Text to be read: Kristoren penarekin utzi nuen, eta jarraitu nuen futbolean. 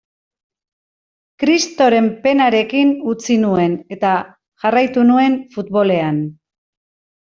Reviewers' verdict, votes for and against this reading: rejected, 0, 2